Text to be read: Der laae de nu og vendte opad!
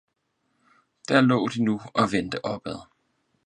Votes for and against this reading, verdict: 4, 0, accepted